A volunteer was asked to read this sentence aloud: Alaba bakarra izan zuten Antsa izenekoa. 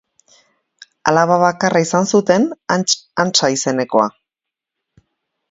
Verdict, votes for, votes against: rejected, 0, 2